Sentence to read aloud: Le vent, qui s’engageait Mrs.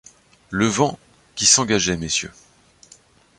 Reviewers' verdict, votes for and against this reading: rejected, 0, 2